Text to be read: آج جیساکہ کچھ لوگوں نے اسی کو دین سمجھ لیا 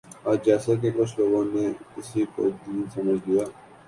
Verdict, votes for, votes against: accepted, 2, 0